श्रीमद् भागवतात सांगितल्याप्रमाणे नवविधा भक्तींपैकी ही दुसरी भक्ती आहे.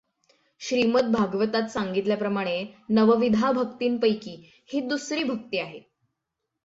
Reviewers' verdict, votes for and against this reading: accepted, 6, 0